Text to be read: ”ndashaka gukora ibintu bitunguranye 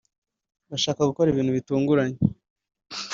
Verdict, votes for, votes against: accepted, 2, 0